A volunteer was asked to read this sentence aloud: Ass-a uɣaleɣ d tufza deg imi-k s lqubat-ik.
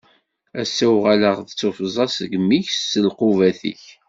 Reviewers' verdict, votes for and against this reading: accepted, 2, 0